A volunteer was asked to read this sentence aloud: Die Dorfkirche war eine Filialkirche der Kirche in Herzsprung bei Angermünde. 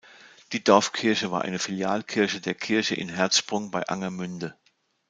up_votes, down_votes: 2, 0